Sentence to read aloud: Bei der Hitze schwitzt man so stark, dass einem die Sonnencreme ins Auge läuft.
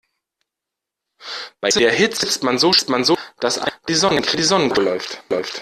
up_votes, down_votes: 0, 2